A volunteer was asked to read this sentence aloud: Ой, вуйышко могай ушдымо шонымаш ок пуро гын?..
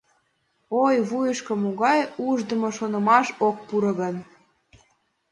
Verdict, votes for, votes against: accepted, 2, 0